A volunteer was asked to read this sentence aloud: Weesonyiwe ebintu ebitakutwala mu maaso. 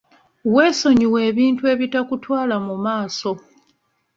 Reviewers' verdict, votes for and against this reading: accepted, 2, 0